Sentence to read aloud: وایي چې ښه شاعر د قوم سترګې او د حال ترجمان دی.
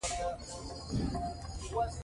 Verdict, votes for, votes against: rejected, 1, 2